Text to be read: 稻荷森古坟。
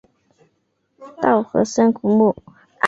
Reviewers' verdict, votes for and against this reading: rejected, 0, 2